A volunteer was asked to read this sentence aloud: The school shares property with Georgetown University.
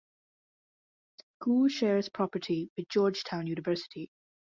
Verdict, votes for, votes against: rejected, 0, 2